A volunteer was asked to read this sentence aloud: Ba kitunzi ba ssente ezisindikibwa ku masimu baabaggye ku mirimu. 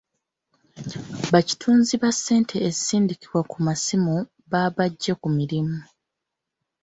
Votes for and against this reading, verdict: 2, 0, accepted